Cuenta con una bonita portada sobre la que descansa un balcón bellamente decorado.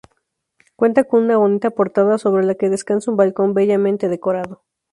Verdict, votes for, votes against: accepted, 2, 0